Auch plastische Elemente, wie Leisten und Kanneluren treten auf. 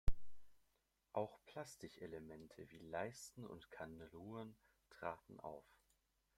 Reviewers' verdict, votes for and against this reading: rejected, 0, 2